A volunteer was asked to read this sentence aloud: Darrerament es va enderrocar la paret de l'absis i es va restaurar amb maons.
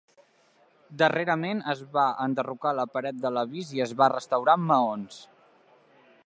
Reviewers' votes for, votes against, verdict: 0, 2, rejected